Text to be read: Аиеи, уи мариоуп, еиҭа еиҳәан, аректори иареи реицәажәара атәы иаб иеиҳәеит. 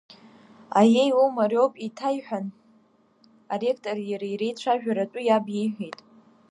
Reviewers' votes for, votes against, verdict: 1, 2, rejected